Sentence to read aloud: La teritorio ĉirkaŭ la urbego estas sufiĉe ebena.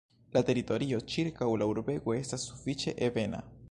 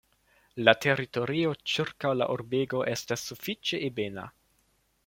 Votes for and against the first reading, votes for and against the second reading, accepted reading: 0, 2, 2, 0, second